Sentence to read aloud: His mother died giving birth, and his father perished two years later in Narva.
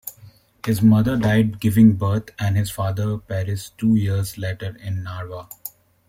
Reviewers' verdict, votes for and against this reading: rejected, 0, 2